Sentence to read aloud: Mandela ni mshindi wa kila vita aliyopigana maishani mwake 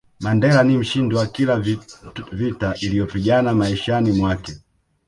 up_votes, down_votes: 1, 2